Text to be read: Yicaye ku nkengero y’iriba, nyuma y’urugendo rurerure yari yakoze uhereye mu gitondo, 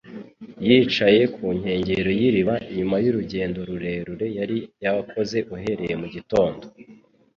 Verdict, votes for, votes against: accepted, 2, 0